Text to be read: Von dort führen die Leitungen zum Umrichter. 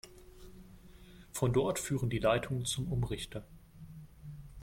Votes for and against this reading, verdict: 2, 0, accepted